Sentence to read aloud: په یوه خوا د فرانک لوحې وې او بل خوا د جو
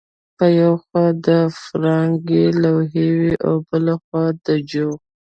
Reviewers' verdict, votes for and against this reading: accepted, 2, 0